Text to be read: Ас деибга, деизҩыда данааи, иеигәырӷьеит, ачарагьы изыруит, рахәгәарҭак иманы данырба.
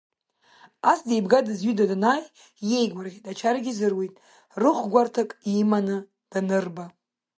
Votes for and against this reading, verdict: 1, 2, rejected